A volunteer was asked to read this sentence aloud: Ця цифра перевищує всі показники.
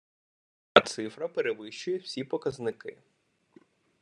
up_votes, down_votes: 0, 2